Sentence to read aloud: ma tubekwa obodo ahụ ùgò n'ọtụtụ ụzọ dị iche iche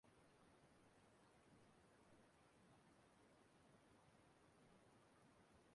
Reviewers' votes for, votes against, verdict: 0, 2, rejected